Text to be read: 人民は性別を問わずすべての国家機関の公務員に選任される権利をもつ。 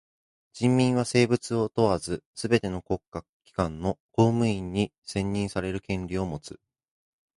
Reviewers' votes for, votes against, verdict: 1, 2, rejected